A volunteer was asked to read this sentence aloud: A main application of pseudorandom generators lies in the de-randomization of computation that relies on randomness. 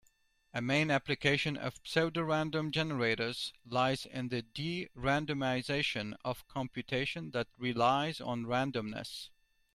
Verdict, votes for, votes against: accepted, 2, 0